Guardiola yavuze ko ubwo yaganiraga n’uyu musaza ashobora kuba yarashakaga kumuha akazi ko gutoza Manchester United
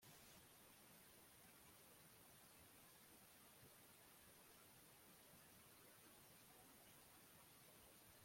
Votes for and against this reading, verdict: 0, 3, rejected